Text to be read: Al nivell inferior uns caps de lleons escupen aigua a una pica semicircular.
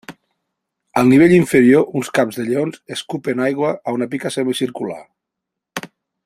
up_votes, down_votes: 2, 0